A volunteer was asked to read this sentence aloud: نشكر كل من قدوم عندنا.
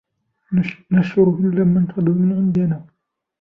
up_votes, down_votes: 1, 2